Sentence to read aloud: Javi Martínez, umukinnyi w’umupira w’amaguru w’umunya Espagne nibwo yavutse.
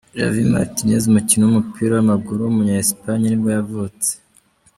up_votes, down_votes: 2, 0